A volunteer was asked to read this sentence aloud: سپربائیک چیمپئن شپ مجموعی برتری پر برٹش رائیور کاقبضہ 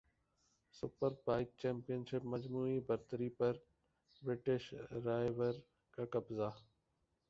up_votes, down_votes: 2, 2